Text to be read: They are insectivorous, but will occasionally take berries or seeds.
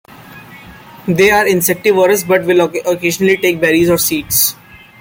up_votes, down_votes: 1, 2